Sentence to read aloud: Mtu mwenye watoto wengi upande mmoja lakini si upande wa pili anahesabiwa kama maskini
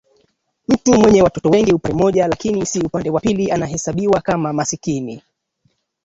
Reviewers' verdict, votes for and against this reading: accepted, 2, 1